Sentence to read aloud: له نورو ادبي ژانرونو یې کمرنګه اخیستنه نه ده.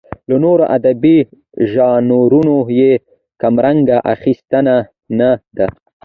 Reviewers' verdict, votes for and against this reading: accepted, 2, 1